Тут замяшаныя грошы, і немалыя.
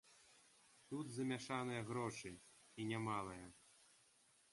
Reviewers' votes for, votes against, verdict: 0, 2, rejected